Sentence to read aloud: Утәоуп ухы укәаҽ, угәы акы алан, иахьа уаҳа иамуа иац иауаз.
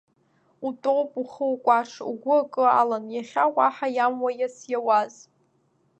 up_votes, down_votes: 1, 2